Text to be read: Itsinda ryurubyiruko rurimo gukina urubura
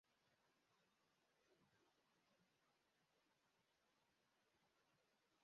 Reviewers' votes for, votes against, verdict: 0, 2, rejected